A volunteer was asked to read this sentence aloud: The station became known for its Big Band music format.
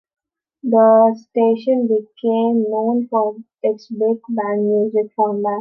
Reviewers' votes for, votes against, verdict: 2, 0, accepted